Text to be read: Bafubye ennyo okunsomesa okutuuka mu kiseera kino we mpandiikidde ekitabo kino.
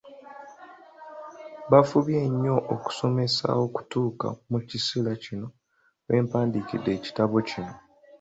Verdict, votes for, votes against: rejected, 0, 2